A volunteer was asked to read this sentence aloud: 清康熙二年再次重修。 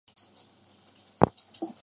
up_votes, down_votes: 0, 2